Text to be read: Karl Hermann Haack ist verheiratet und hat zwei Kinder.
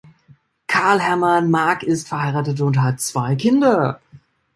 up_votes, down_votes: 0, 2